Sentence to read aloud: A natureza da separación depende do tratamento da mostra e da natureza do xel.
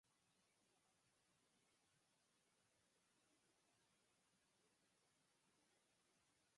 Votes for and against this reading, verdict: 0, 4, rejected